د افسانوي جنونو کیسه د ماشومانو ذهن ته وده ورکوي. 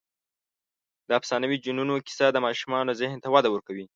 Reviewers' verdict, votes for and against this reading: accepted, 2, 0